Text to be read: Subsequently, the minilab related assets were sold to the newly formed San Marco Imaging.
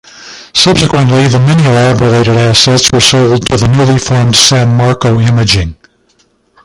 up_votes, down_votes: 2, 1